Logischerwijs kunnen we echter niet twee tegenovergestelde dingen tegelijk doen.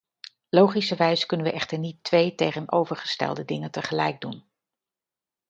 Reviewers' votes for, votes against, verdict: 2, 0, accepted